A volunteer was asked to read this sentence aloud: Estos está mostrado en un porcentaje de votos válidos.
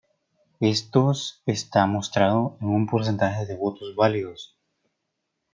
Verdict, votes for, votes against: accepted, 2, 0